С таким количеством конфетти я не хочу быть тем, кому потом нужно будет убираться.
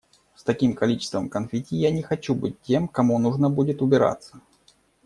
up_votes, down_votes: 1, 2